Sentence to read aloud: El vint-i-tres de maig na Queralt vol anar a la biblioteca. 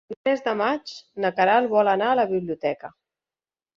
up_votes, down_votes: 0, 2